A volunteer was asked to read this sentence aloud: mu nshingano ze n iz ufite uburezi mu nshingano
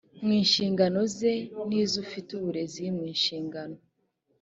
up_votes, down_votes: 2, 1